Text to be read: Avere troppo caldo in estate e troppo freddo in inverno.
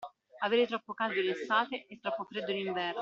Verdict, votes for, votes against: accepted, 2, 1